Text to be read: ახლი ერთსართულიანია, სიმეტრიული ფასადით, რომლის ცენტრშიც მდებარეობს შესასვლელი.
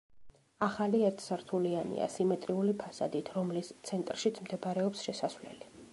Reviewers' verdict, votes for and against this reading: rejected, 0, 2